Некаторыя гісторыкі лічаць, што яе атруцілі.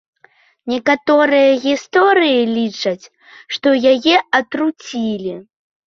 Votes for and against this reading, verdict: 0, 2, rejected